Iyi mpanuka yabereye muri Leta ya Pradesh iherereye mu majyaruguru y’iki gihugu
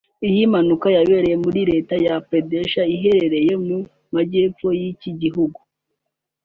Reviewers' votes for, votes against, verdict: 0, 2, rejected